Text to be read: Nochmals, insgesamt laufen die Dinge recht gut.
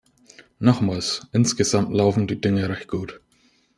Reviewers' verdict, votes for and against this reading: accepted, 2, 0